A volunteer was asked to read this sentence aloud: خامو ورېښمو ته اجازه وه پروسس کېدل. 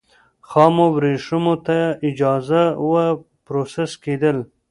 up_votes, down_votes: 2, 0